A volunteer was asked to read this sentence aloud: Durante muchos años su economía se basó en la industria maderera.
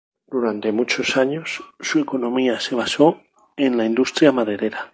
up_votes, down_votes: 4, 0